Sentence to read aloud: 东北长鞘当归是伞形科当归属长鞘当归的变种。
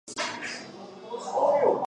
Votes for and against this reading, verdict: 1, 3, rejected